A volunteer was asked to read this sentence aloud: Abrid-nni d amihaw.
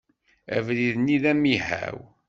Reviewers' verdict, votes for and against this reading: accepted, 2, 0